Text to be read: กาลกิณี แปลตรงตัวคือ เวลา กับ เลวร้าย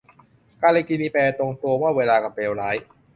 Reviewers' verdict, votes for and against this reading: rejected, 0, 2